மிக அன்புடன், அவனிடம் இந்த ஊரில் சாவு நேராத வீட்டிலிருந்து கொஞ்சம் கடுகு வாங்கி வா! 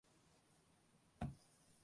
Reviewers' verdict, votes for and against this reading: rejected, 0, 2